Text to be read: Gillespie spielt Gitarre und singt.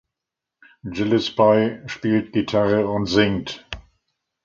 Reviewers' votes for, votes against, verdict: 2, 1, accepted